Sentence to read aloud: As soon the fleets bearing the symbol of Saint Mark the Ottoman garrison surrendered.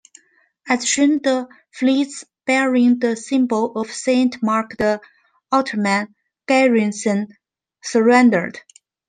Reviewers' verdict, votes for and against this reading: rejected, 0, 2